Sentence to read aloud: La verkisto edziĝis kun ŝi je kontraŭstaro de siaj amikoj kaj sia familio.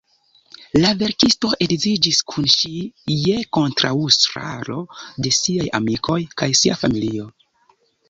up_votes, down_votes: 2, 0